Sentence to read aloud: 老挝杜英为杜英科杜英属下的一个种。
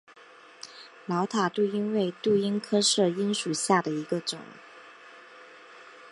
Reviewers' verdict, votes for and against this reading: rejected, 1, 2